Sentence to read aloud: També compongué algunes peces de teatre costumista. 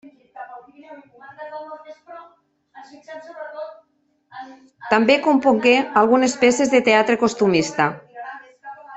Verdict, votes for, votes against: rejected, 0, 2